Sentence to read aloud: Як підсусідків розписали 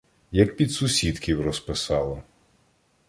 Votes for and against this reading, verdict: 0, 2, rejected